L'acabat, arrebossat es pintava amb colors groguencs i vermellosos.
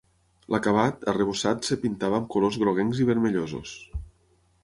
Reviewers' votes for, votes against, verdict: 0, 6, rejected